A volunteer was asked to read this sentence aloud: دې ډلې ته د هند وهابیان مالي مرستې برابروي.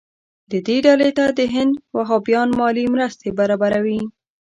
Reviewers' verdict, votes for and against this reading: rejected, 1, 2